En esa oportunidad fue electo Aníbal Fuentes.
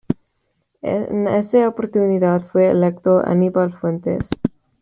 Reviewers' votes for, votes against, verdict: 1, 2, rejected